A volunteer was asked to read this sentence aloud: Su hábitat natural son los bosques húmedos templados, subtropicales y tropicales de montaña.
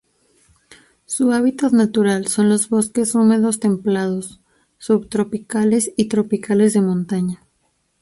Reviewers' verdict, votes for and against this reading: accepted, 4, 0